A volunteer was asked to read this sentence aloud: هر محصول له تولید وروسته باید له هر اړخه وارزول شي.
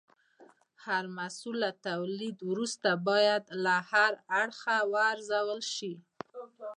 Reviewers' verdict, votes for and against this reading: accepted, 2, 0